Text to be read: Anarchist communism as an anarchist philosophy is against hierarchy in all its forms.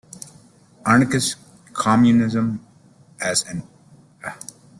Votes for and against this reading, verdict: 0, 2, rejected